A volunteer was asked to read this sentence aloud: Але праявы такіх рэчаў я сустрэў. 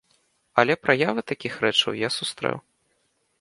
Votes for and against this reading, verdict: 2, 0, accepted